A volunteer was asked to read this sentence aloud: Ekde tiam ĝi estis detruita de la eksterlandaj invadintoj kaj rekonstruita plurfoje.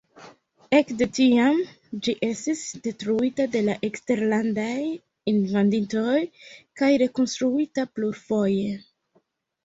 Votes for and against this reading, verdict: 1, 2, rejected